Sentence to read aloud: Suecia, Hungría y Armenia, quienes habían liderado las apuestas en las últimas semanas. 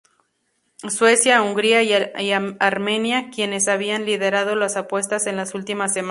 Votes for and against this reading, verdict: 0, 2, rejected